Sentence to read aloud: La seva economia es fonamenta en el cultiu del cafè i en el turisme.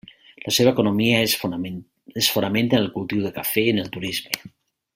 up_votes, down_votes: 0, 2